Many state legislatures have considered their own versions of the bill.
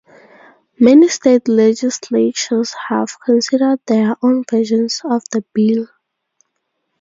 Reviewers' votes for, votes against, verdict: 2, 0, accepted